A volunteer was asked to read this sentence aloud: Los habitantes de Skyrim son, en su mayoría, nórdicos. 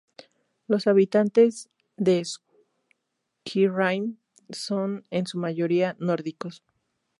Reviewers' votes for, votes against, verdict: 0, 2, rejected